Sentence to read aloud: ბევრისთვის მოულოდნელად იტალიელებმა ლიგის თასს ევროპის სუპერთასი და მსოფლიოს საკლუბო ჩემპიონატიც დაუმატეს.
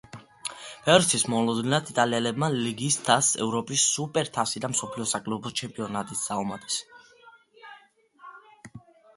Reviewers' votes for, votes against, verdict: 2, 1, accepted